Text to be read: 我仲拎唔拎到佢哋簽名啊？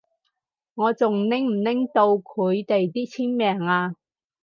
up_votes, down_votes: 0, 4